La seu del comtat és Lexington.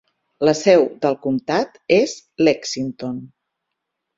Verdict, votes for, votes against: accepted, 6, 2